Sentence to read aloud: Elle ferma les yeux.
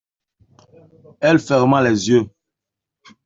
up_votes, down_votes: 2, 0